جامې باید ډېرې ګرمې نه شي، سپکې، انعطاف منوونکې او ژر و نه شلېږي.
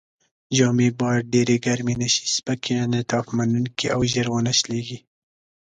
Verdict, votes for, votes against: accepted, 2, 0